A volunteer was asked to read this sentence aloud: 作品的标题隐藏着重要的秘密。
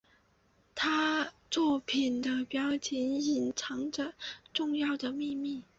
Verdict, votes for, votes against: rejected, 0, 3